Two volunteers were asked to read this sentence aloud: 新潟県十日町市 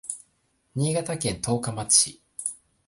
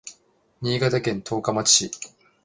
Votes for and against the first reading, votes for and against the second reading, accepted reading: 1, 2, 2, 0, second